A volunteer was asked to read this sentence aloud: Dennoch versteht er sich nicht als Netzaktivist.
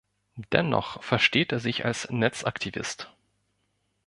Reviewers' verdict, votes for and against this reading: rejected, 2, 3